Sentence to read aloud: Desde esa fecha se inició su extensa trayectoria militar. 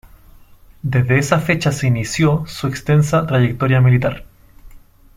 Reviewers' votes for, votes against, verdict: 2, 0, accepted